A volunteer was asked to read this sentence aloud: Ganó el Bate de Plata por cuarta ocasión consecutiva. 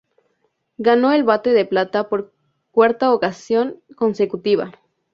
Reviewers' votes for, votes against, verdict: 0, 2, rejected